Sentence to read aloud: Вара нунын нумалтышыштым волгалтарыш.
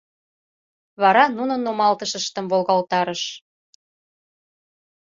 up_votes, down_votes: 2, 0